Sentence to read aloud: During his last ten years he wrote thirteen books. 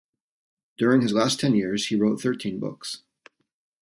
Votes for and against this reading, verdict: 2, 0, accepted